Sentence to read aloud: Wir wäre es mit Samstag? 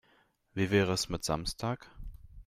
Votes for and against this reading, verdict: 0, 2, rejected